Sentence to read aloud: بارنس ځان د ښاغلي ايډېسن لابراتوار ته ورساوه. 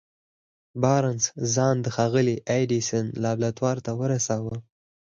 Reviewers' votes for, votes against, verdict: 4, 0, accepted